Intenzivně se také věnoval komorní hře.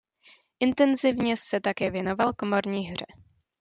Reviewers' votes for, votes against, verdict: 2, 0, accepted